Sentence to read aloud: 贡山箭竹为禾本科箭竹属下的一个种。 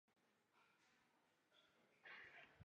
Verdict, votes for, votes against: rejected, 0, 3